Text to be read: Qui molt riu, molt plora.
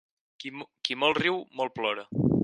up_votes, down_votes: 0, 4